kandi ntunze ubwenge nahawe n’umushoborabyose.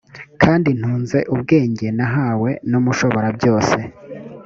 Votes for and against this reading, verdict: 2, 0, accepted